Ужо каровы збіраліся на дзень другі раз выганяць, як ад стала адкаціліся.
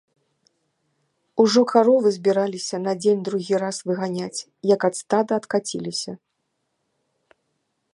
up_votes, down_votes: 1, 2